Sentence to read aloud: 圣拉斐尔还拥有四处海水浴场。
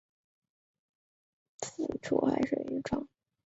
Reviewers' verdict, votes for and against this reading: rejected, 0, 2